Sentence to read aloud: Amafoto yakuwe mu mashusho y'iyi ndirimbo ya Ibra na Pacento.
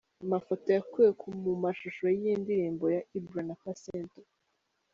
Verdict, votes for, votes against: rejected, 2, 3